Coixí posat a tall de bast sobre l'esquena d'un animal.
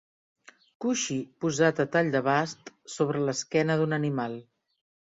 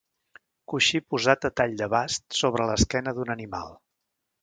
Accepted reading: second